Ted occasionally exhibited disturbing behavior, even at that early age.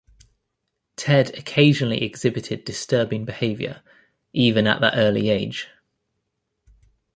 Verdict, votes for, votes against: accepted, 2, 0